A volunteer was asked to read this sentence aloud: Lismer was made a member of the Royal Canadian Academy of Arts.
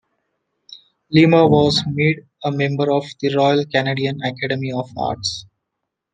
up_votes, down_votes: 2, 1